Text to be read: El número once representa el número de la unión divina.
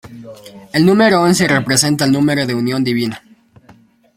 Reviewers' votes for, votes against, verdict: 0, 2, rejected